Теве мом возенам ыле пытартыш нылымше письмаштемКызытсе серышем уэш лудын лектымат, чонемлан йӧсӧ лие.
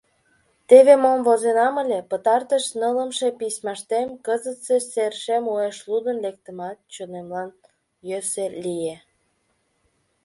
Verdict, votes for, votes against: accepted, 2, 1